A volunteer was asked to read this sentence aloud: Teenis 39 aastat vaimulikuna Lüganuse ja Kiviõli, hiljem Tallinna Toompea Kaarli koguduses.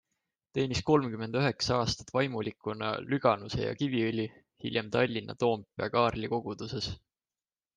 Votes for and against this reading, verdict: 0, 2, rejected